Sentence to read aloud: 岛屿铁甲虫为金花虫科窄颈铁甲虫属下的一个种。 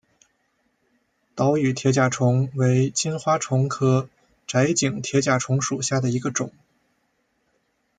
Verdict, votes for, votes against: rejected, 1, 2